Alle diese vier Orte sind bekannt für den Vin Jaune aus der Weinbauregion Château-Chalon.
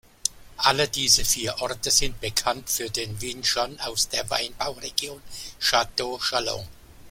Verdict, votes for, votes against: rejected, 1, 2